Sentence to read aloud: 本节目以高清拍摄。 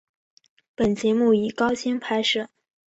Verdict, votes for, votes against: accepted, 2, 0